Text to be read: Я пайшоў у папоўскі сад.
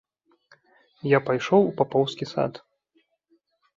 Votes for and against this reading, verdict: 2, 0, accepted